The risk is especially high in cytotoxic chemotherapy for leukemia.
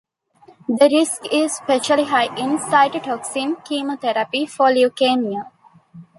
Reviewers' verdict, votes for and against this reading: rejected, 0, 2